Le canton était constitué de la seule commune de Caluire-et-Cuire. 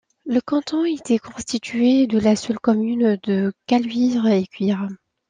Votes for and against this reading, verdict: 2, 0, accepted